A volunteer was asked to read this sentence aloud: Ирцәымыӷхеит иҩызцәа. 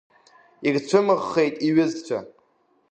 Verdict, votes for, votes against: accepted, 2, 0